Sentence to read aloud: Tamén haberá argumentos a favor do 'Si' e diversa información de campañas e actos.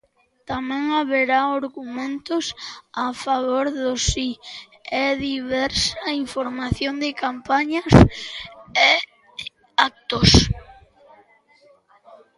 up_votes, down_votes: 1, 2